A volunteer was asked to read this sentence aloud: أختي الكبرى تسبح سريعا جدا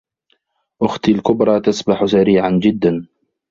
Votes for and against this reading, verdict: 1, 2, rejected